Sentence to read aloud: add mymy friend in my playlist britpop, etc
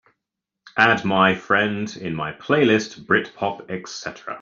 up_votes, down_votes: 1, 2